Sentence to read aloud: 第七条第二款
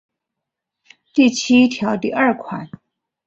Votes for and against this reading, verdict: 2, 0, accepted